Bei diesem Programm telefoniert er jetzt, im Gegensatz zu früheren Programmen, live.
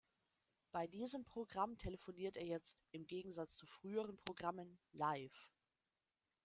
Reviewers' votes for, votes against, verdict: 0, 2, rejected